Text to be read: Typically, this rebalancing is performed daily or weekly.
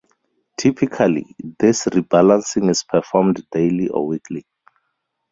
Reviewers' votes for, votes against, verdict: 4, 0, accepted